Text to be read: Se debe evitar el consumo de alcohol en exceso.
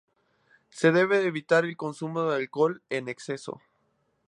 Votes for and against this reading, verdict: 2, 0, accepted